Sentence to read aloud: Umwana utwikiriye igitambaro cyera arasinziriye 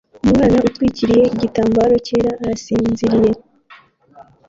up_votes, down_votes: 1, 2